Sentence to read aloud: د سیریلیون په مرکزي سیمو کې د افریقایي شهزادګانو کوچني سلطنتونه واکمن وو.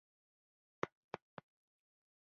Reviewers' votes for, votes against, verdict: 1, 2, rejected